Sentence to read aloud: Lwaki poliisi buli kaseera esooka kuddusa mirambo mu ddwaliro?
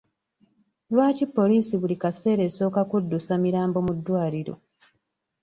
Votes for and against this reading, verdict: 2, 0, accepted